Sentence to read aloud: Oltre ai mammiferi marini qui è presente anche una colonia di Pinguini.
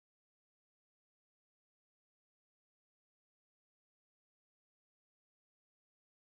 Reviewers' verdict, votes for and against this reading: rejected, 0, 2